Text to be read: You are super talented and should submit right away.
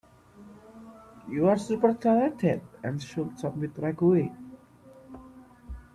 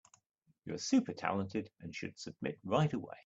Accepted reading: second